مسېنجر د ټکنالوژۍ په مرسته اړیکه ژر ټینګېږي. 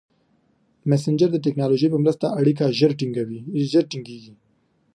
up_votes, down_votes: 0, 2